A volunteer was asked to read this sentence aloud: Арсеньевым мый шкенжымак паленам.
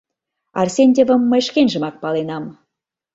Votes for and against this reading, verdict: 0, 2, rejected